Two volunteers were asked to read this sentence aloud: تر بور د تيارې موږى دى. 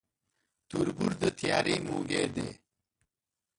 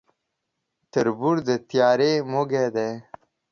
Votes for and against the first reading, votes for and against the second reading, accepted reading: 0, 2, 2, 0, second